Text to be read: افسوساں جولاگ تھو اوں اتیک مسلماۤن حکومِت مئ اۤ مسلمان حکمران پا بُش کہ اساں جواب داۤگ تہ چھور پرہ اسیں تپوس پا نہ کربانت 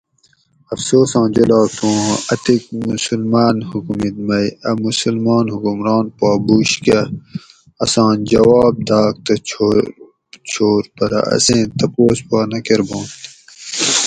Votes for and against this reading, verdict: 0, 2, rejected